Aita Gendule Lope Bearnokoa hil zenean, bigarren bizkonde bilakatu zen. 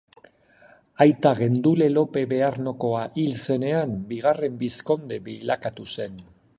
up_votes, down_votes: 2, 0